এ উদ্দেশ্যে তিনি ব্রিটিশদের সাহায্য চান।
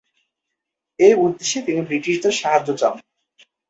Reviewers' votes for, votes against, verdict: 2, 2, rejected